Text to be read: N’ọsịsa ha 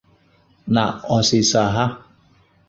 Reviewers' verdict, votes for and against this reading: accepted, 2, 0